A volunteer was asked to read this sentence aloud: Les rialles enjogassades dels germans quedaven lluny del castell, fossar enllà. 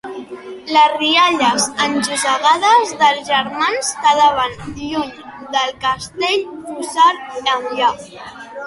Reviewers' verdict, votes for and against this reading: rejected, 0, 3